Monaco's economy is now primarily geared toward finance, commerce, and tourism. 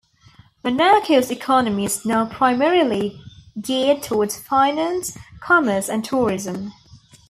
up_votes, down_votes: 0, 2